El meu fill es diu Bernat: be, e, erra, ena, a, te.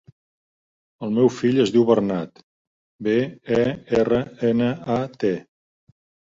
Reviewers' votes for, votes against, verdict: 3, 0, accepted